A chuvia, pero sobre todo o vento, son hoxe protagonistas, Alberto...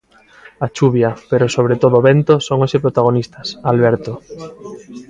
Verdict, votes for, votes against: accepted, 2, 1